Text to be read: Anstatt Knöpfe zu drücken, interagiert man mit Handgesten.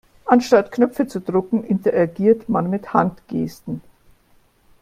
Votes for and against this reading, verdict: 2, 0, accepted